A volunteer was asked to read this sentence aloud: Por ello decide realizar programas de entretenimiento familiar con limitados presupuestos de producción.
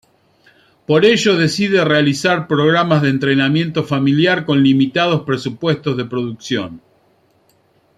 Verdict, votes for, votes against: rejected, 1, 2